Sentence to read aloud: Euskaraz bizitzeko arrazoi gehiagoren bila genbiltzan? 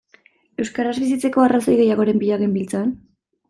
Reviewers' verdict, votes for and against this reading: accepted, 2, 0